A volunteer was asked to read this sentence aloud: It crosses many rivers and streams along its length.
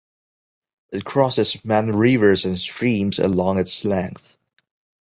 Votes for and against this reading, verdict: 2, 0, accepted